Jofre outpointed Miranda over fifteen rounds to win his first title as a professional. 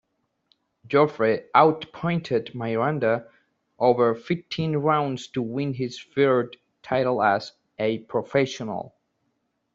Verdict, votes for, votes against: rejected, 0, 2